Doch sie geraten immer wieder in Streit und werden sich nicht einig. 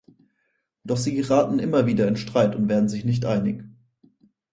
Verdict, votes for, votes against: accepted, 4, 0